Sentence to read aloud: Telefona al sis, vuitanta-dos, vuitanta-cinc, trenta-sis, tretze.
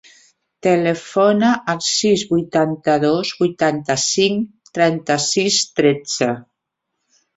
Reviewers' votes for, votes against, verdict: 3, 1, accepted